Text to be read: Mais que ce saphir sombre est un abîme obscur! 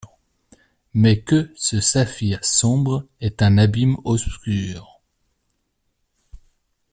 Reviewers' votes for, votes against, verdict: 0, 2, rejected